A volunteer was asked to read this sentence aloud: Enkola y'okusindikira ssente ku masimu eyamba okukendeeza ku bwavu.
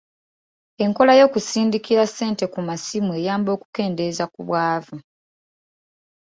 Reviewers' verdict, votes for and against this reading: accepted, 2, 0